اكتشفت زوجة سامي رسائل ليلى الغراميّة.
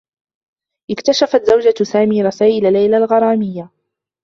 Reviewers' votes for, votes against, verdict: 1, 2, rejected